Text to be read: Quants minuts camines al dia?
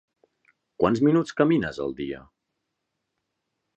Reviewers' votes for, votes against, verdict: 3, 0, accepted